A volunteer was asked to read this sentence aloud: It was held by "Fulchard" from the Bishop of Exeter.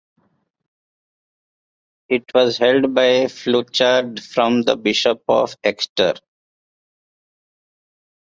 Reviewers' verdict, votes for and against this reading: rejected, 0, 2